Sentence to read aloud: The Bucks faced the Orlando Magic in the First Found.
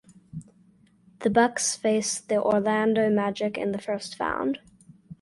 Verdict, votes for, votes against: accepted, 4, 0